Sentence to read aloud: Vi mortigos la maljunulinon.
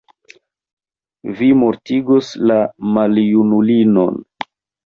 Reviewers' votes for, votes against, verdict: 0, 2, rejected